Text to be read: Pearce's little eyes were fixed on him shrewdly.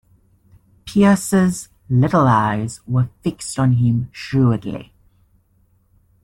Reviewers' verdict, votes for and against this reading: rejected, 1, 2